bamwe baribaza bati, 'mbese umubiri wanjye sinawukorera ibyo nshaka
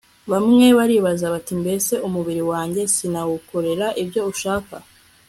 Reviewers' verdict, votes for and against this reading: accepted, 2, 0